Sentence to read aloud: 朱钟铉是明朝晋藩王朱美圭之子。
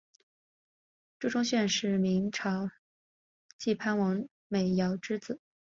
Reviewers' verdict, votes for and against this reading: accepted, 4, 2